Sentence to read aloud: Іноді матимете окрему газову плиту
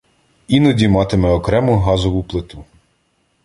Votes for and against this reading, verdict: 1, 2, rejected